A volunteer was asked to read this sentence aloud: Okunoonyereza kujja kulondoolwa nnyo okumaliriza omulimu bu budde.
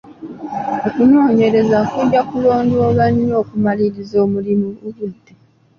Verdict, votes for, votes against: accepted, 2, 1